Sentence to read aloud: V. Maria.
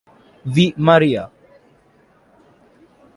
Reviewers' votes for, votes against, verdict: 2, 0, accepted